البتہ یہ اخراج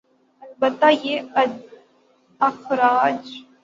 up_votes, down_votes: 0, 3